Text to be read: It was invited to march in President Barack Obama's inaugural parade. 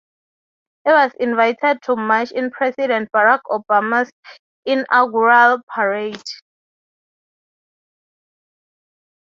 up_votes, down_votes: 3, 0